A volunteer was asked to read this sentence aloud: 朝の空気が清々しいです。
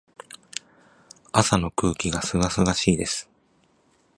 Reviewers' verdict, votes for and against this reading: accepted, 3, 0